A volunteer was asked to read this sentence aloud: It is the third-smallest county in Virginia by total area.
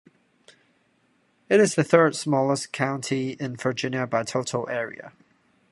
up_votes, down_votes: 2, 0